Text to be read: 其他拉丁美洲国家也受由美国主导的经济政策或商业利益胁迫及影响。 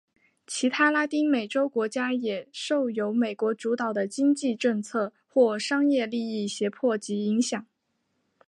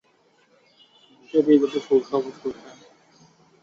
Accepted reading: first